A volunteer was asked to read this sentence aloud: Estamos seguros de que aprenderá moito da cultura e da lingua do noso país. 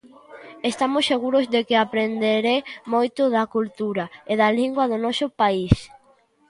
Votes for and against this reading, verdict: 0, 2, rejected